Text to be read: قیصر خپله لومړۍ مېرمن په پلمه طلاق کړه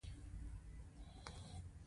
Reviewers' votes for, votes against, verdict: 1, 2, rejected